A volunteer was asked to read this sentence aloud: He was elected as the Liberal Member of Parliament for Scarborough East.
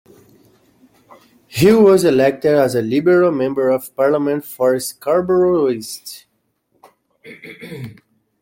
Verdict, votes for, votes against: accepted, 2, 0